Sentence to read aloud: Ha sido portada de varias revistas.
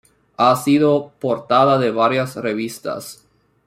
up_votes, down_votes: 1, 2